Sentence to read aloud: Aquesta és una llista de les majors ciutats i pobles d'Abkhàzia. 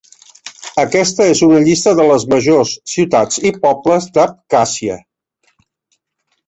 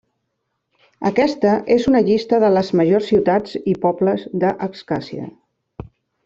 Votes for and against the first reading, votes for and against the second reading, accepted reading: 3, 1, 0, 2, first